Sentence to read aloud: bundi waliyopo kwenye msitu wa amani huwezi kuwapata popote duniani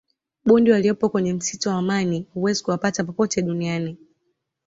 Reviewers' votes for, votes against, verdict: 2, 0, accepted